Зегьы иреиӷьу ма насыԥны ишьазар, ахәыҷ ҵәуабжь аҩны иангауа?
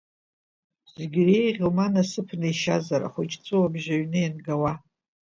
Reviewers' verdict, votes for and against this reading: accepted, 2, 0